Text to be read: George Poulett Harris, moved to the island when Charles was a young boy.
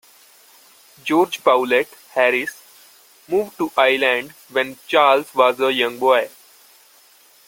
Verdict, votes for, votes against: rejected, 1, 2